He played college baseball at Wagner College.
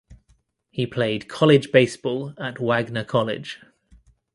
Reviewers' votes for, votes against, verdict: 2, 0, accepted